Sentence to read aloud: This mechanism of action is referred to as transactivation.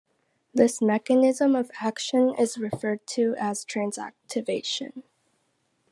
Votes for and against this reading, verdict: 2, 0, accepted